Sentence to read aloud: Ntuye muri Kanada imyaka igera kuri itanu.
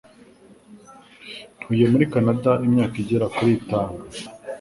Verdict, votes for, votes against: accepted, 3, 0